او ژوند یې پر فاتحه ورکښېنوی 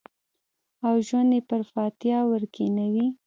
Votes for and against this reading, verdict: 2, 0, accepted